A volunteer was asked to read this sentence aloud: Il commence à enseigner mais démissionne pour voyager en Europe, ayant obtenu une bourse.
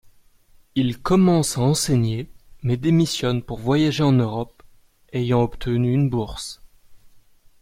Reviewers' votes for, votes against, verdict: 2, 0, accepted